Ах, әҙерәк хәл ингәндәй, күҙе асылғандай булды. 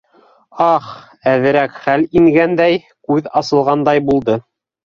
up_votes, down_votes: 2, 3